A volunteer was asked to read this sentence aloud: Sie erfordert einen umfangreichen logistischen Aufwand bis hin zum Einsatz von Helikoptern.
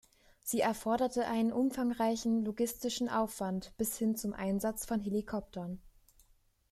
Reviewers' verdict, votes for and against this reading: rejected, 1, 2